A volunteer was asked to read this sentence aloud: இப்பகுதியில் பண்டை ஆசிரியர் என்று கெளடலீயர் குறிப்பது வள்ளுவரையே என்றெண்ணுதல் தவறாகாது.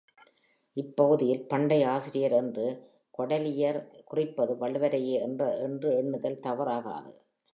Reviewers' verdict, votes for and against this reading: rejected, 1, 3